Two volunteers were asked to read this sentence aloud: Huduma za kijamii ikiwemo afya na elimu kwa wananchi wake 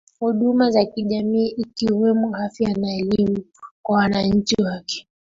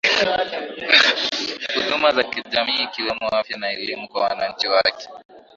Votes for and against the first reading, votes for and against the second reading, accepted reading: 2, 1, 1, 2, first